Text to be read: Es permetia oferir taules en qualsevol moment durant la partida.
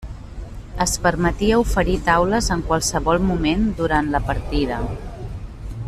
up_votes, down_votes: 0, 2